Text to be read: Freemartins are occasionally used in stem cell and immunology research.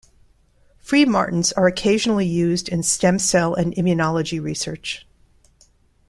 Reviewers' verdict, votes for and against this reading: accepted, 2, 0